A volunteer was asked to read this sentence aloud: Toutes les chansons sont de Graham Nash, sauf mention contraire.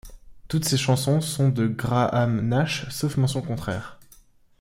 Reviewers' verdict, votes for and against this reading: rejected, 1, 2